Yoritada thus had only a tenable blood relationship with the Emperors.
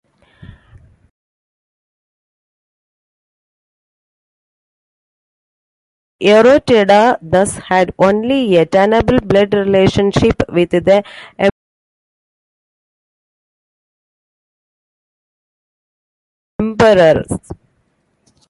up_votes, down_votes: 2, 1